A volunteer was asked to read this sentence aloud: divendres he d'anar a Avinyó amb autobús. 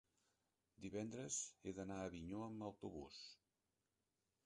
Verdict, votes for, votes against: rejected, 0, 3